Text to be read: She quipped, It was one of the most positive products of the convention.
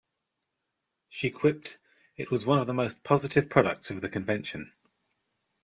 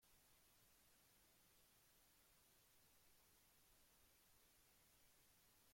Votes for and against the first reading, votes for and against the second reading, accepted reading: 2, 0, 0, 2, first